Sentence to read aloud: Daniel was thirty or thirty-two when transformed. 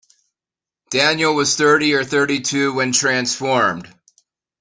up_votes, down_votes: 2, 0